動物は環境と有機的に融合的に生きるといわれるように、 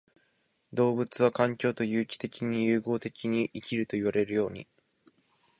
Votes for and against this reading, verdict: 3, 0, accepted